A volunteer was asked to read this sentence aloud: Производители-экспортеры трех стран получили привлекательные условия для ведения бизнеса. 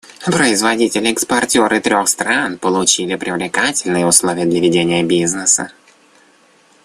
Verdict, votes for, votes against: rejected, 1, 2